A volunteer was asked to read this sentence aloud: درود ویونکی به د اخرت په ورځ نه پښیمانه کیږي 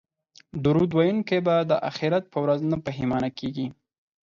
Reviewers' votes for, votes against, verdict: 4, 0, accepted